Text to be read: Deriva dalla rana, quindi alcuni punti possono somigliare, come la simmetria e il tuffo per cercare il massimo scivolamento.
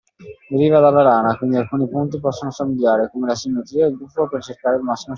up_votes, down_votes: 0, 2